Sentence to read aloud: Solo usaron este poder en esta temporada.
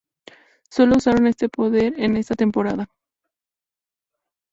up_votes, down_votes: 4, 0